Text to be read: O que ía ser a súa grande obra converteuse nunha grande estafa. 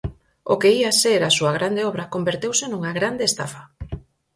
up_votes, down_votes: 4, 0